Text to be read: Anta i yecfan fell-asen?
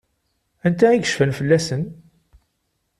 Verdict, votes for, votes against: accepted, 2, 0